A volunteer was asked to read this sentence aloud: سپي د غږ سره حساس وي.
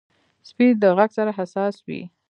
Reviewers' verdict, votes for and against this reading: accepted, 2, 0